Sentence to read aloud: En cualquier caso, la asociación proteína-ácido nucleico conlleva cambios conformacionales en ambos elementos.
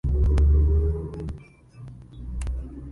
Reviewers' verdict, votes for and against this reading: rejected, 0, 2